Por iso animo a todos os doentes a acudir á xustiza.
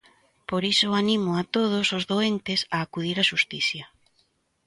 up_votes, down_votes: 0, 2